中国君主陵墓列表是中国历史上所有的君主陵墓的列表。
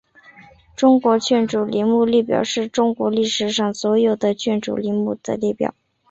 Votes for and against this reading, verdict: 2, 0, accepted